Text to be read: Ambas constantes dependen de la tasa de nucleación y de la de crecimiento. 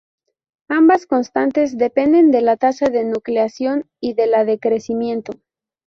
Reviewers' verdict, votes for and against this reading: accepted, 2, 0